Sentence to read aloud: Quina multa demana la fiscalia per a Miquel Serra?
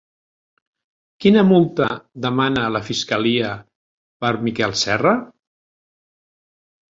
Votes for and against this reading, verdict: 0, 2, rejected